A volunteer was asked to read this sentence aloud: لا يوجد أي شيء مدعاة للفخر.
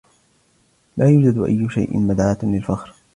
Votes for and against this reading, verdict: 2, 1, accepted